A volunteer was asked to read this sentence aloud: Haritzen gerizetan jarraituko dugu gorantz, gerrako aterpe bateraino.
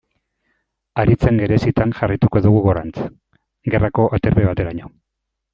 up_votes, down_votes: 2, 1